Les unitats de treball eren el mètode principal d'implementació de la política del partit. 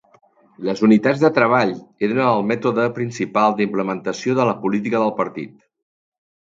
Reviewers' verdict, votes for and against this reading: accepted, 3, 1